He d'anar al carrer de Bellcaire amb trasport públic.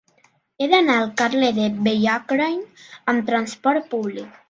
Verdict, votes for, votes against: rejected, 1, 2